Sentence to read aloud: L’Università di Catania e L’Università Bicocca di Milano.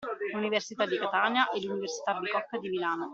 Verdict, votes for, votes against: accepted, 2, 0